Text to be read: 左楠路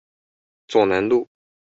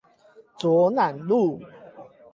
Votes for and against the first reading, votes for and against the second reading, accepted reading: 2, 0, 4, 8, first